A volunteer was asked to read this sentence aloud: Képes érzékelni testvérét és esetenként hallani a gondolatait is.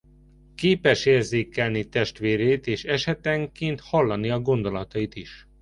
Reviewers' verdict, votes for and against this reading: accepted, 2, 0